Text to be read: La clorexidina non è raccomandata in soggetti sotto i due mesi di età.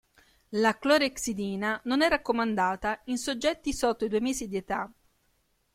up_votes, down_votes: 1, 2